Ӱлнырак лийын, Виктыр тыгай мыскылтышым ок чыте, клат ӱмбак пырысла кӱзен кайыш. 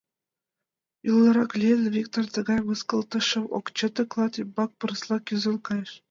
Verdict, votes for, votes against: accepted, 2, 0